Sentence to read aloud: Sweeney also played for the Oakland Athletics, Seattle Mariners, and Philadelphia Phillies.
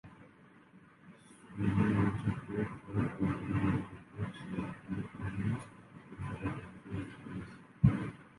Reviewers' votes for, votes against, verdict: 0, 2, rejected